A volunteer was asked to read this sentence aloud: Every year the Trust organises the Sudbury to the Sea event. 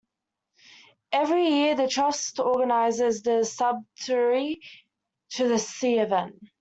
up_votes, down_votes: 2, 0